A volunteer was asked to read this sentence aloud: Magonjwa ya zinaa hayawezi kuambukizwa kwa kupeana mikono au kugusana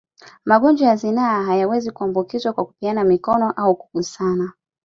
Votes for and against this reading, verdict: 2, 1, accepted